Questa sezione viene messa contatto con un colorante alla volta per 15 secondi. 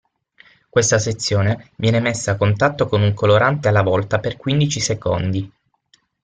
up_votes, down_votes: 0, 2